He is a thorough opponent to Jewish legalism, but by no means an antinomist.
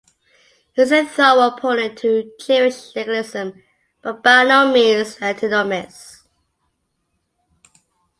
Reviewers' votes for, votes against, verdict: 1, 2, rejected